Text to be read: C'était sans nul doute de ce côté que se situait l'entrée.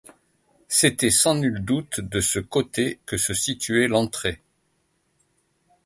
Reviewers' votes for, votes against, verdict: 2, 0, accepted